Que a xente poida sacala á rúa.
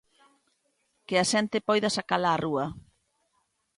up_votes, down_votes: 2, 0